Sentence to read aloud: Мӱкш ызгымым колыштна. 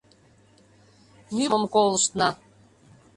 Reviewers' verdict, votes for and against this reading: rejected, 0, 3